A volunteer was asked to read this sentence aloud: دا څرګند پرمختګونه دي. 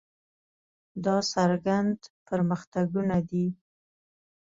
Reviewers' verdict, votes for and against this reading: accepted, 2, 0